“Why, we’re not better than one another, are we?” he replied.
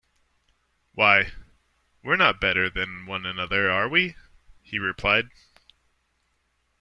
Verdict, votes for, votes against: accepted, 2, 0